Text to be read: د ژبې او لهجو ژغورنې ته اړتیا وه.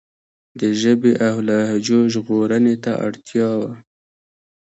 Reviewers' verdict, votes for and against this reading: accepted, 2, 0